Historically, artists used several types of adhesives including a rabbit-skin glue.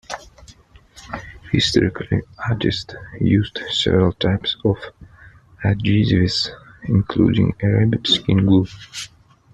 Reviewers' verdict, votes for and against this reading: rejected, 1, 2